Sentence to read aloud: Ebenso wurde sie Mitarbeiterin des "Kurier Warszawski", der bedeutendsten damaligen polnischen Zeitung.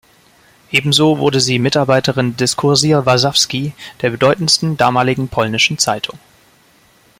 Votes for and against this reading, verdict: 0, 2, rejected